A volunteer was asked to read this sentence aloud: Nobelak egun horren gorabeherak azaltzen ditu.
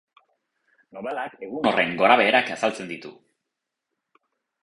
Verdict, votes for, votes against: rejected, 2, 2